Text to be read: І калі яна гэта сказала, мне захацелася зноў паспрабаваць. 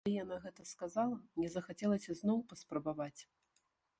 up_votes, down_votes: 0, 2